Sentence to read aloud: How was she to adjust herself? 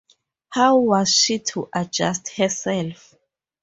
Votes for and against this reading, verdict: 2, 0, accepted